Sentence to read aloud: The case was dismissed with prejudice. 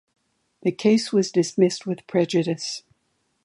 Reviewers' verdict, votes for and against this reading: accepted, 2, 0